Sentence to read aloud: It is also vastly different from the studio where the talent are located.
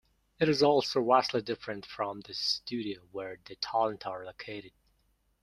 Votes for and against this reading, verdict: 2, 0, accepted